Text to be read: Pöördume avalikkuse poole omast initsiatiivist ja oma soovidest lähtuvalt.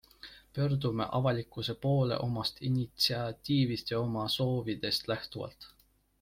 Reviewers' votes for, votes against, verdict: 2, 0, accepted